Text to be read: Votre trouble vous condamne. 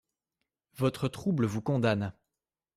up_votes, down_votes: 2, 0